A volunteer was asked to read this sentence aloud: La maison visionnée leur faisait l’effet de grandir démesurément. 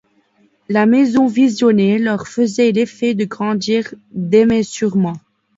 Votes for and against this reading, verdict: 0, 2, rejected